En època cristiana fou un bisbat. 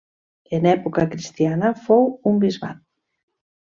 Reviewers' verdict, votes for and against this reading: accepted, 3, 0